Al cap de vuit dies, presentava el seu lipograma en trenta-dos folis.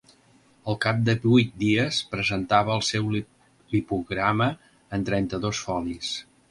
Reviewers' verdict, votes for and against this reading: rejected, 1, 2